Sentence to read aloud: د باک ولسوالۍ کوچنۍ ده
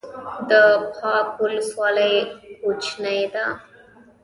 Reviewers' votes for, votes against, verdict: 1, 2, rejected